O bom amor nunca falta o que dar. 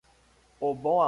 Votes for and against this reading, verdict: 0, 2, rejected